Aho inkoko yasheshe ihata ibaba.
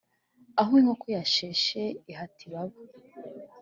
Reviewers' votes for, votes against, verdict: 3, 0, accepted